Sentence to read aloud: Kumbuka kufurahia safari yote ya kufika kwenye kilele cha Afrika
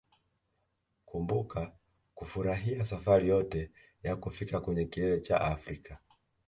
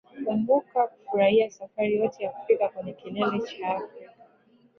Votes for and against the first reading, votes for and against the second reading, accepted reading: 2, 0, 0, 2, first